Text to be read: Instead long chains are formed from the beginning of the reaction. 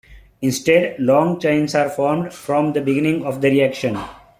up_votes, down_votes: 2, 0